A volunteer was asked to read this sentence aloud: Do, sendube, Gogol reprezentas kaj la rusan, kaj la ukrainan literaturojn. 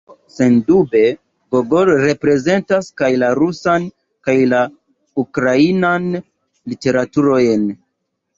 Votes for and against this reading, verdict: 3, 2, accepted